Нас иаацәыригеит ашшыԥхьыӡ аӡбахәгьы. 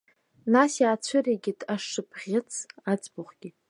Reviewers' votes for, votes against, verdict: 2, 0, accepted